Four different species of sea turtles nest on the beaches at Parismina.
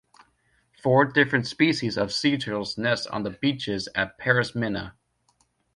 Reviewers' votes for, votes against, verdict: 2, 1, accepted